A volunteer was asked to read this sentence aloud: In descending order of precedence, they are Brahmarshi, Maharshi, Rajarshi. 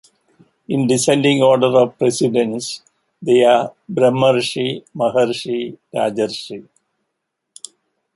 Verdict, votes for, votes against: accepted, 2, 0